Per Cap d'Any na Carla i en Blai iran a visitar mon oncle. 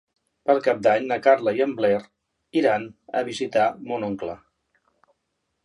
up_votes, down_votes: 0, 2